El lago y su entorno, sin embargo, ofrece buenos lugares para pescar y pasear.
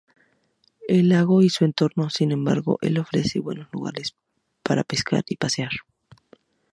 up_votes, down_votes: 4, 8